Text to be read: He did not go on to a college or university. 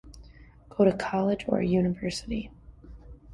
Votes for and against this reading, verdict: 2, 1, accepted